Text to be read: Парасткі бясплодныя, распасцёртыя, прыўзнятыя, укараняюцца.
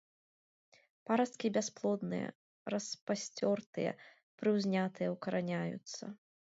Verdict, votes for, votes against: accepted, 2, 0